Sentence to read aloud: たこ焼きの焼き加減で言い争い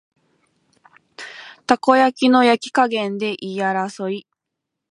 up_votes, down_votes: 3, 0